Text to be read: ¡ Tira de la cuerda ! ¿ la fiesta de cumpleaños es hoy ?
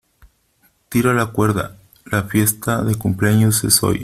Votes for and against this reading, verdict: 1, 2, rejected